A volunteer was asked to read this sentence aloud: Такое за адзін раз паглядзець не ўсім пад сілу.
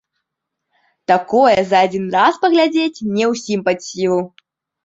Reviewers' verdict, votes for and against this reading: rejected, 0, 2